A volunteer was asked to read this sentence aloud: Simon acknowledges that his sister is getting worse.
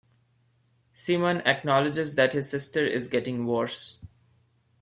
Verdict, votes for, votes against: accepted, 2, 0